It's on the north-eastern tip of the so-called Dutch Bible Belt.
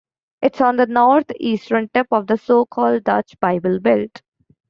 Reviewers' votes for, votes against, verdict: 2, 1, accepted